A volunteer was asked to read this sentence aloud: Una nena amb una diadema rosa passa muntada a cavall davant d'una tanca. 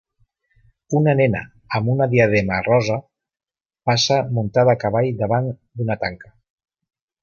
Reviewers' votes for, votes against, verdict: 2, 0, accepted